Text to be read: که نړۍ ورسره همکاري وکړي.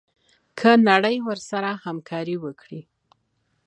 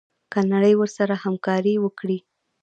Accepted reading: first